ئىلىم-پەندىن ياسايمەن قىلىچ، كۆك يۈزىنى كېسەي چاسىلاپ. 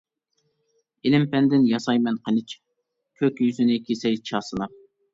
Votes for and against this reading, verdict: 2, 0, accepted